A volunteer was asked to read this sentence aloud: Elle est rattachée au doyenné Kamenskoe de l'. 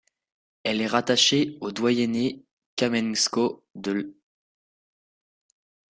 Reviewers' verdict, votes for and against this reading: accepted, 2, 0